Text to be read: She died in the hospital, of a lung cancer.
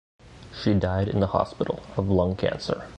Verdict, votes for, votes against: rejected, 1, 2